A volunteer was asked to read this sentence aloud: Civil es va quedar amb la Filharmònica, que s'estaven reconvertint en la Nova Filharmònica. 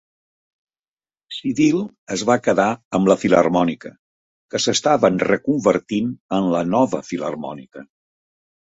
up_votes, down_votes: 2, 0